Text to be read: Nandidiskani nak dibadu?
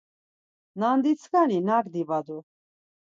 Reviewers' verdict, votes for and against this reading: rejected, 2, 4